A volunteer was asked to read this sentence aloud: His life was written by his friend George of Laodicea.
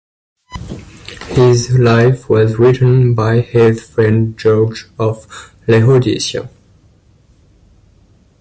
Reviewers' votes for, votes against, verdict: 2, 0, accepted